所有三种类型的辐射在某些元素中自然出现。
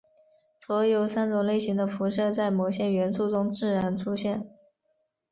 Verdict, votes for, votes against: rejected, 1, 3